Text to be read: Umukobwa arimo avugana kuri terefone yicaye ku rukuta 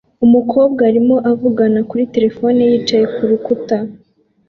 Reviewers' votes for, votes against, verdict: 2, 0, accepted